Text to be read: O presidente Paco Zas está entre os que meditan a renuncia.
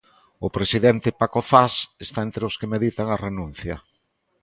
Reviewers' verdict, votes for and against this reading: accepted, 2, 0